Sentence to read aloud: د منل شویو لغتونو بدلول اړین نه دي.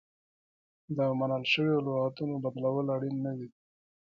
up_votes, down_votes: 2, 1